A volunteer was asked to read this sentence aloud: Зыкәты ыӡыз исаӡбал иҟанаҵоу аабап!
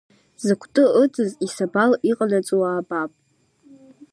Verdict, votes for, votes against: rejected, 1, 2